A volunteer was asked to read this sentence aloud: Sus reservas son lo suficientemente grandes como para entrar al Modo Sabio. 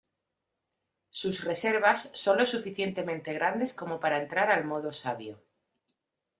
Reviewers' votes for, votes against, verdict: 2, 0, accepted